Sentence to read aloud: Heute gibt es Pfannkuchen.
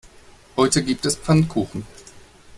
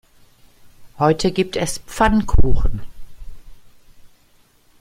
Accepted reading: first